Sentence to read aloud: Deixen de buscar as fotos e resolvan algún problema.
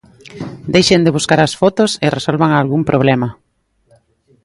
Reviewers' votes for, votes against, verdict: 2, 1, accepted